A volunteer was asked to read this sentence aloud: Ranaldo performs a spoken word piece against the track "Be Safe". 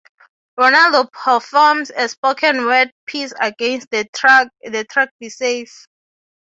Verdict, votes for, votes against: rejected, 0, 3